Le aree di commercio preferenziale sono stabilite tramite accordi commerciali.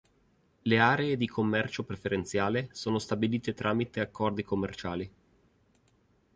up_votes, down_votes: 2, 1